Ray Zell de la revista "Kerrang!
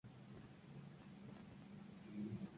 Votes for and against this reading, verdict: 0, 2, rejected